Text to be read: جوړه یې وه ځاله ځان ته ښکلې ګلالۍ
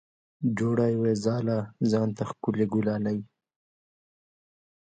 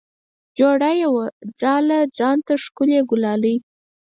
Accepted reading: first